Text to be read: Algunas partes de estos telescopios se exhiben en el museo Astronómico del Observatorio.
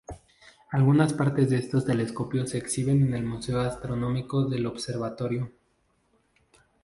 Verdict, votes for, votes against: accepted, 2, 0